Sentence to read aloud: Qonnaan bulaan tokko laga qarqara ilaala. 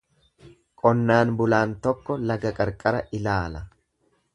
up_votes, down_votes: 2, 0